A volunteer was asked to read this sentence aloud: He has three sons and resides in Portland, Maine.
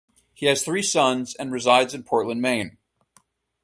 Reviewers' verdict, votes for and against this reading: accepted, 2, 0